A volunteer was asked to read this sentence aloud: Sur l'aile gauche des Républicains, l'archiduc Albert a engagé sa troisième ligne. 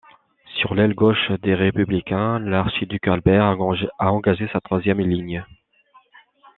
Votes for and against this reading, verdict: 0, 2, rejected